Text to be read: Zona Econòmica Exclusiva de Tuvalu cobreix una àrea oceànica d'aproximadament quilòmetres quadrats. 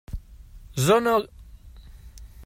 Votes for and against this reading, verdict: 0, 2, rejected